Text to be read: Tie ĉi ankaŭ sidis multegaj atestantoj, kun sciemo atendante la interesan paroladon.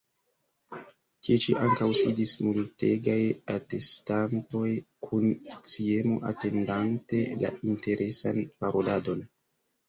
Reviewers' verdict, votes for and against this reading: rejected, 0, 2